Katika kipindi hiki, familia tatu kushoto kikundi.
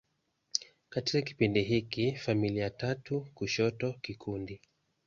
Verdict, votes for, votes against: accepted, 2, 0